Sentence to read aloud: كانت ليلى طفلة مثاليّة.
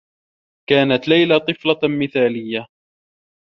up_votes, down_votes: 2, 0